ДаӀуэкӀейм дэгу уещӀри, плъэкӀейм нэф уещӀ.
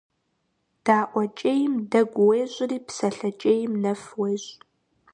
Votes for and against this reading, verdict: 1, 2, rejected